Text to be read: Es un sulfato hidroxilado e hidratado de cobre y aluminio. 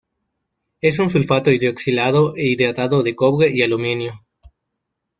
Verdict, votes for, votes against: accepted, 2, 0